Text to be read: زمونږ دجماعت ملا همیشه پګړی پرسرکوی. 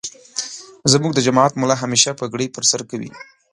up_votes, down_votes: 2, 0